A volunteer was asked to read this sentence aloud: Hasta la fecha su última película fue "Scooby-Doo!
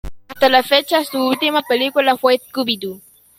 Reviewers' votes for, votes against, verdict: 2, 1, accepted